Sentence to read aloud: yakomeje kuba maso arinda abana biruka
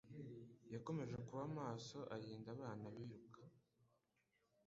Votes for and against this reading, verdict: 2, 0, accepted